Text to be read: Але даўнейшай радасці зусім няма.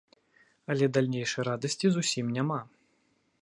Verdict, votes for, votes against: rejected, 0, 2